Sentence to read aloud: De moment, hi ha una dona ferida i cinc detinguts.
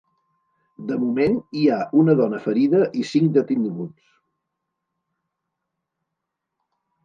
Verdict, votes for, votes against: accepted, 2, 1